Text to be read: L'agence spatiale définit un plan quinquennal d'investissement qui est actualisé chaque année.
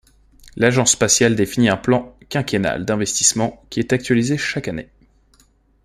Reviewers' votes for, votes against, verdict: 2, 0, accepted